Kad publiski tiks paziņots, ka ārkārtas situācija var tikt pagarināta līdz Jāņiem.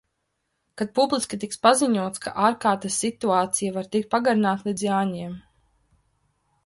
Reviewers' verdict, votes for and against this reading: accepted, 2, 0